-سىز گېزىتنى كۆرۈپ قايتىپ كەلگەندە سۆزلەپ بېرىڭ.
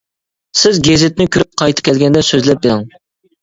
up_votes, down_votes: 0, 2